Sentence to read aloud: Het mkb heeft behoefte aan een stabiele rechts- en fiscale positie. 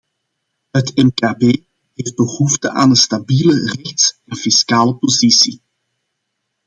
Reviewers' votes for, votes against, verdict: 1, 2, rejected